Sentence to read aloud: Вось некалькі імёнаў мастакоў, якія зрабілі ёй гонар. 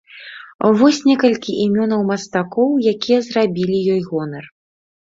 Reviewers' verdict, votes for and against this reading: accepted, 2, 0